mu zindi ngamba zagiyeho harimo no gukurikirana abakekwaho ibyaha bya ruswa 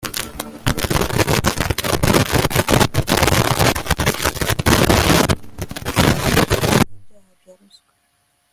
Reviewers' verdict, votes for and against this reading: rejected, 0, 3